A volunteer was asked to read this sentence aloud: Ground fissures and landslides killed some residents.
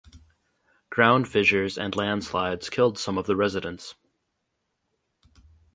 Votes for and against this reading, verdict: 0, 4, rejected